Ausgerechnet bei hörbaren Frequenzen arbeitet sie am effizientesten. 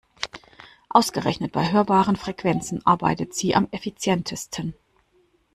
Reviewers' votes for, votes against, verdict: 2, 0, accepted